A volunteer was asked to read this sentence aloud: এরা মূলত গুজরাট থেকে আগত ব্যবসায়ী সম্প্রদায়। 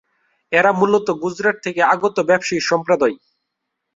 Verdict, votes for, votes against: accepted, 2, 0